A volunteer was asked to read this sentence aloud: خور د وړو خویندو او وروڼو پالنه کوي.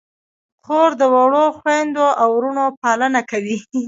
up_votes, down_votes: 1, 2